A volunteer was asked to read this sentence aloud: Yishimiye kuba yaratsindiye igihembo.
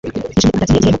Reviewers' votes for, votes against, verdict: 2, 1, accepted